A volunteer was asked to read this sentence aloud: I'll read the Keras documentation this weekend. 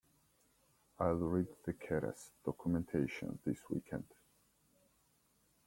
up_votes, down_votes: 2, 0